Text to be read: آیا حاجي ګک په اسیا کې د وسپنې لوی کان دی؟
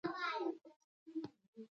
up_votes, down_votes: 0, 2